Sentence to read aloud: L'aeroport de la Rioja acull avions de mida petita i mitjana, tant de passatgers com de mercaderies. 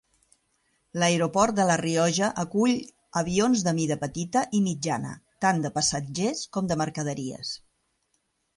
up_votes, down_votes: 0, 2